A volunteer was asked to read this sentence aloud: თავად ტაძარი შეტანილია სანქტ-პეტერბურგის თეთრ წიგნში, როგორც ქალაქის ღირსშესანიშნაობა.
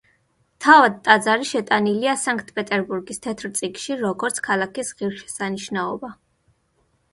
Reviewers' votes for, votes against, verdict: 2, 0, accepted